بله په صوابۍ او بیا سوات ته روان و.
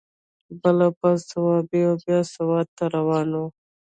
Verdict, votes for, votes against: rejected, 0, 2